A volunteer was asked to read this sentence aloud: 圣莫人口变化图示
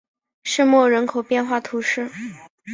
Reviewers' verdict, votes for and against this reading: accepted, 2, 0